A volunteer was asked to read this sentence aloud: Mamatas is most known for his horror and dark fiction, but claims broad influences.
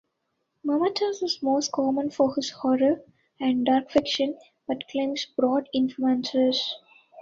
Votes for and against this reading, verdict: 1, 2, rejected